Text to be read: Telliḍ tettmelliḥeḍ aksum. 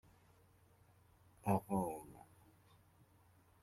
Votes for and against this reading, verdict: 1, 3, rejected